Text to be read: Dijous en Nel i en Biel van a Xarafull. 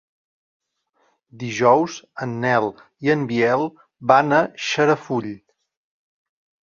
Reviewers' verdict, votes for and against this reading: accepted, 2, 0